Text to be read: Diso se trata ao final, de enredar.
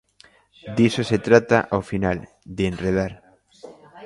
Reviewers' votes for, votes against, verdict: 2, 0, accepted